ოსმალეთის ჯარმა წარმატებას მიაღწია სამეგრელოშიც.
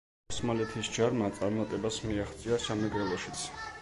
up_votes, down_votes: 1, 2